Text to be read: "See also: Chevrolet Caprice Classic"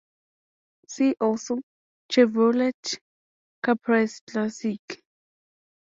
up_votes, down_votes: 2, 0